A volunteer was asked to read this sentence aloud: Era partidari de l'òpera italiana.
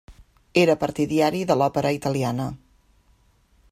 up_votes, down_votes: 1, 2